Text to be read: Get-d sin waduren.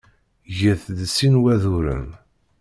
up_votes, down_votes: 2, 0